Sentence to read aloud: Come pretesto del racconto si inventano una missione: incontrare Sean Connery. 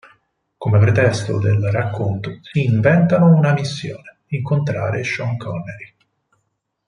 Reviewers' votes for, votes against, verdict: 4, 0, accepted